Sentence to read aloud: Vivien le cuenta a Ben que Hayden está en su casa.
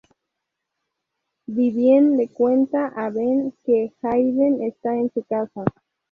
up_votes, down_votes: 0, 2